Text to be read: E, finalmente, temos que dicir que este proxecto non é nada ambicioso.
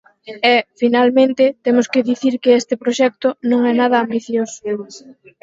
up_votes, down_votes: 4, 0